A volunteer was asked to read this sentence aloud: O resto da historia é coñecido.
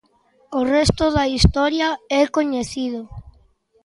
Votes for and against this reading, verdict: 2, 0, accepted